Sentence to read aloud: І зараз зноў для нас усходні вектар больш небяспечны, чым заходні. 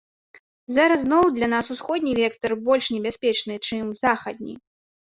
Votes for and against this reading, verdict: 0, 2, rejected